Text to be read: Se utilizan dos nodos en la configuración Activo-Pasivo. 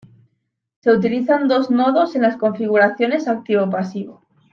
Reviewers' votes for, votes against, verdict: 0, 2, rejected